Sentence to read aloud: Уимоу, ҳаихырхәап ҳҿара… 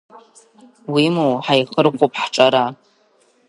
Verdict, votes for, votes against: rejected, 1, 2